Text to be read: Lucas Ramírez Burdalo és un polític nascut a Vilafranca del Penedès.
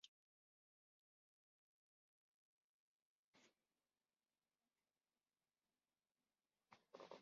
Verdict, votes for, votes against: rejected, 0, 2